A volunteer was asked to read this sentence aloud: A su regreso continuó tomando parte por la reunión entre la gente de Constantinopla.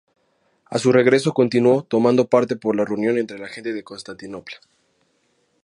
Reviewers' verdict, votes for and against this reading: accepted, 2, 0